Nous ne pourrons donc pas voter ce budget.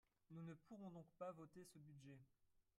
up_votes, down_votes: 1, 3